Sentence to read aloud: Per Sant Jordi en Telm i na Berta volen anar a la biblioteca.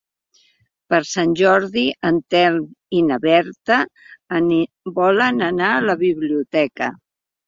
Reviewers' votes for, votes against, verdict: 2, 3, rejected